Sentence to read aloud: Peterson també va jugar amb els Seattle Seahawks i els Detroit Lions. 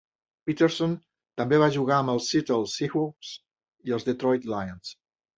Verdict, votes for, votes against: accepted, 2, 0